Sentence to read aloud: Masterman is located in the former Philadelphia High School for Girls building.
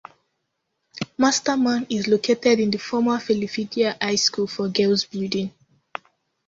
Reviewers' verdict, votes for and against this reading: accepted, 2, 0